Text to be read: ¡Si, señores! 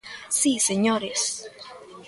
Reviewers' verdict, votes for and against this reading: accepted, 2, 0